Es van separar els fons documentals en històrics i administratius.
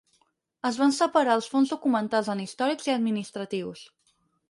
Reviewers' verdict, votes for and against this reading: accepted, 4, 0